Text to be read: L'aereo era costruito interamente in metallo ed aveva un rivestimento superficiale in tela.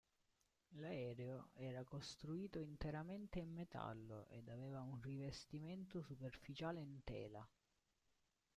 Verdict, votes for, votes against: rejected, 0, 2